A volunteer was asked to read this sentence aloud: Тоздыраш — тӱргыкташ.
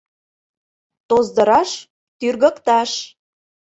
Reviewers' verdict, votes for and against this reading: accepted, 2, 0